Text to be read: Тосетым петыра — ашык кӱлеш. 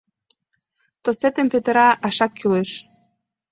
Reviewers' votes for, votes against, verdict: 1, 2, rejected